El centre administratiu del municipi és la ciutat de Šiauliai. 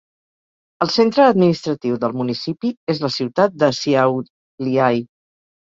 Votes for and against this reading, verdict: 0, 4, rejected